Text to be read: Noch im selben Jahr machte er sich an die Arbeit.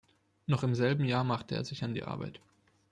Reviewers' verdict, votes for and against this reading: accepted, 2, 0